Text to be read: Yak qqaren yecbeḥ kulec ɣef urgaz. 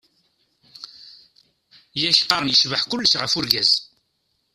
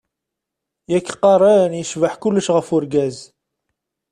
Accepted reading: second